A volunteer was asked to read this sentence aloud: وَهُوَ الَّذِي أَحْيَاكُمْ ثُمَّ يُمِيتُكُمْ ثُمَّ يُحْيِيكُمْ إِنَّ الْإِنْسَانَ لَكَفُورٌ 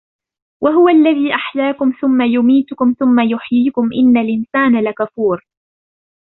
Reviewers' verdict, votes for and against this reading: accepted, 2, 0